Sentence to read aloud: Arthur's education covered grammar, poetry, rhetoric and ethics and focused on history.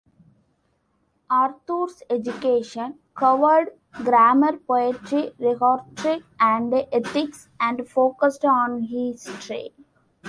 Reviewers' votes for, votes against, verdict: 2, 1, accepted